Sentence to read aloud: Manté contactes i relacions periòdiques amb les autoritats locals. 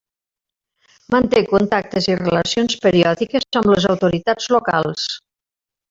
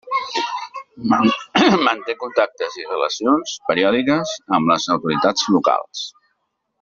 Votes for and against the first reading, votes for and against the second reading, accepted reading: 3, 1, 0, 2, first